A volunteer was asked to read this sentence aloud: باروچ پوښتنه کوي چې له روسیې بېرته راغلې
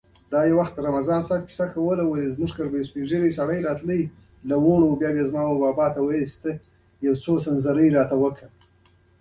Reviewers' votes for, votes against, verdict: 1, 2, rejected